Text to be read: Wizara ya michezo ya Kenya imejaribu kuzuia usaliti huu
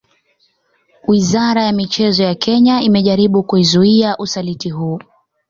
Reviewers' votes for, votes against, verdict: 2, 0, accepted